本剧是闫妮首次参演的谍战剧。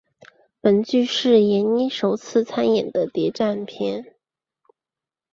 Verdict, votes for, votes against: accepted, 3, 2